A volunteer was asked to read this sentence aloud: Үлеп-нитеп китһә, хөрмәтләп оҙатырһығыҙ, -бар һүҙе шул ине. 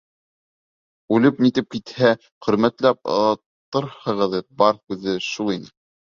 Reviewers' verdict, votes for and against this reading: rejected, 0, 2